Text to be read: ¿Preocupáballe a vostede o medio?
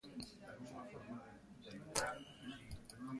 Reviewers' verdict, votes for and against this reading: rejected, 0, 2